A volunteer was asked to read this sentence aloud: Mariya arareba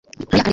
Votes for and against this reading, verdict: 0, 2, rejected